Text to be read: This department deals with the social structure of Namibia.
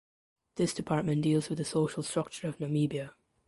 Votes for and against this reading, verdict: 2, 0, accepted